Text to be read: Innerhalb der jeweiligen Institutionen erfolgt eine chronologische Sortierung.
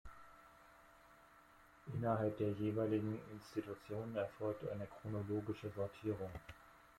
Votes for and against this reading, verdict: 0, 2, rejected